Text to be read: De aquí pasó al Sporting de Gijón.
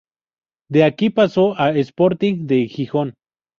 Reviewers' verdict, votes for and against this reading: accepted, 6, 0